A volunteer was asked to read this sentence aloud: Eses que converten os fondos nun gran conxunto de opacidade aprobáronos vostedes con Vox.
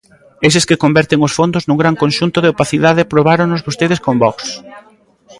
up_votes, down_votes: 2, 0